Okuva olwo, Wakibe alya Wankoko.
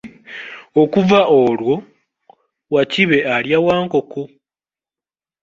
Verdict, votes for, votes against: accepted, 2, 1